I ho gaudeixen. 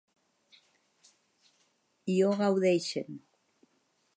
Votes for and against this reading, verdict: 2, 0, accepted